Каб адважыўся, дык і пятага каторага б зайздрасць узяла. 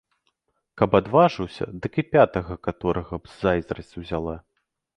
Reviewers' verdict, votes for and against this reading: accepted, 2, 0